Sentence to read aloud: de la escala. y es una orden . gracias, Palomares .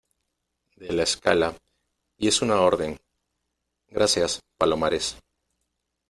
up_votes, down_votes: 2, 0